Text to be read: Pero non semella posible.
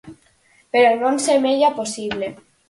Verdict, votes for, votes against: accepted, 4, 0